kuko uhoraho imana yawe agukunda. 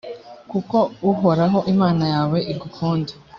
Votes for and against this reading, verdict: 0, 2, rejected